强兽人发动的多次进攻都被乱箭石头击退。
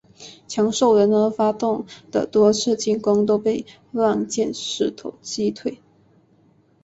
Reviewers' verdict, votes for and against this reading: accepted, 3, 0